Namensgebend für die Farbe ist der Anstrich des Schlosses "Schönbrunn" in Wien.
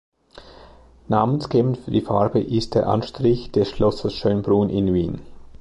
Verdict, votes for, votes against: accepted, 2, 0